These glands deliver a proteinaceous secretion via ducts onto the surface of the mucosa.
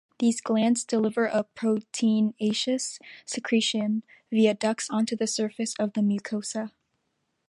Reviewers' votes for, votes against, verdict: 2, 0, accepted